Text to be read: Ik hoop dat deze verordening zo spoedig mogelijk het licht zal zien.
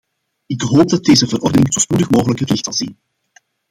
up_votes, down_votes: 1, 2